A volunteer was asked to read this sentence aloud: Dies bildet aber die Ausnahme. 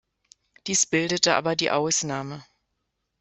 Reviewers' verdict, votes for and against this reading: rejected, 1, 2